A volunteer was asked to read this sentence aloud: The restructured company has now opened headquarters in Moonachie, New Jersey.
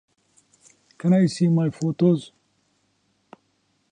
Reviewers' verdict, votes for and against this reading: rejected, 0, 2